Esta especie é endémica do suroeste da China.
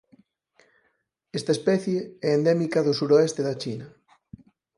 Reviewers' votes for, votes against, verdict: 4, 0, accepted